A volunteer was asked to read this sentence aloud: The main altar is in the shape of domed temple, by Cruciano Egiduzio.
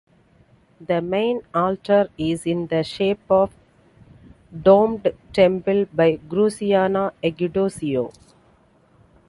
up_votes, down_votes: 3, 0